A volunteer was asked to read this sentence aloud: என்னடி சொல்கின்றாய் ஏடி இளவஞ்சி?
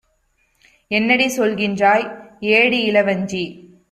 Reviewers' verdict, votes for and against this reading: accepted, 2, 0